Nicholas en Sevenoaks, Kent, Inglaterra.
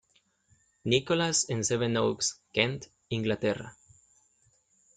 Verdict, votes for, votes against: accepted, 2, 0